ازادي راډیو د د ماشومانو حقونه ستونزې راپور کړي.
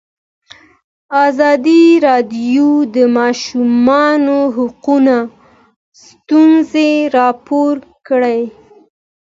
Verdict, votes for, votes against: accepted, 2, 0